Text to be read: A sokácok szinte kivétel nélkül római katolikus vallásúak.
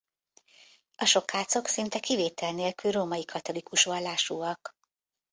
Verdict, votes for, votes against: accepted, 2, 0